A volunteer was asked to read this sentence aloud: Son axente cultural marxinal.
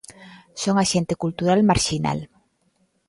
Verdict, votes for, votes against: accepted, 2, 0